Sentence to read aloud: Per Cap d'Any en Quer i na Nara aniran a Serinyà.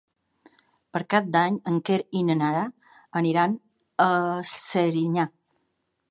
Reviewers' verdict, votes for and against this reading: accepted, 3, 1